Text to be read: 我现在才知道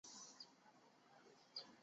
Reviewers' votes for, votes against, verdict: 0, 2, rejected